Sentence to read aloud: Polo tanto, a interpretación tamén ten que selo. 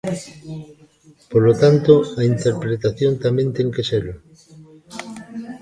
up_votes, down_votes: 1, 2